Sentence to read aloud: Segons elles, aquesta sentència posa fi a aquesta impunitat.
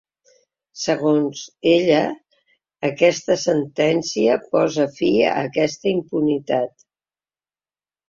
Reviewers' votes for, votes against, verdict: 2, 3, rejected